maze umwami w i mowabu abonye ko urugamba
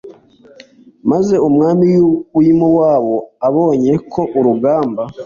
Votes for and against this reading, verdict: 2, 1, accepted